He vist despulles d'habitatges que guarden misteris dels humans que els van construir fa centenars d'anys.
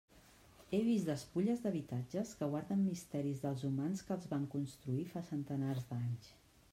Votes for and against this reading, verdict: 3, 1, accepted